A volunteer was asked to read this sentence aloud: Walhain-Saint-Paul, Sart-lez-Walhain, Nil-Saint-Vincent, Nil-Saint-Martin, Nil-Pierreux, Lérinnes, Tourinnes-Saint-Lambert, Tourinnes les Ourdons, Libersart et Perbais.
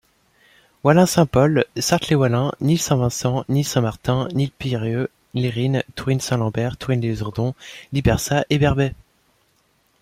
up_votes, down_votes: 2, 0